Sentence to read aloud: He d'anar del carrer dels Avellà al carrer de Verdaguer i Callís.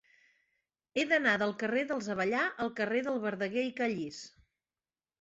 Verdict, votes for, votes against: accepted, 4, 0